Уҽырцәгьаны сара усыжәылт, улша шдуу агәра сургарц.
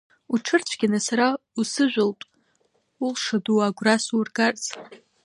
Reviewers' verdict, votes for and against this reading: rejected, 0, 3